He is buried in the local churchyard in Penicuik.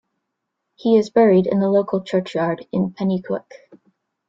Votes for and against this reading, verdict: 0, 2, rejected